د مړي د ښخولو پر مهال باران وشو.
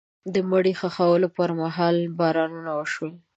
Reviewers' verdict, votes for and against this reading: accepted, 2, 1